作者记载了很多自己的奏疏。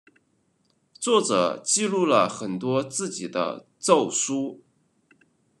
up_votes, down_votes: 1, 2